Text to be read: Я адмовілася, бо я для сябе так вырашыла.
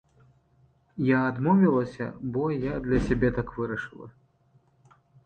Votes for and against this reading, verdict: 2, 0, accepted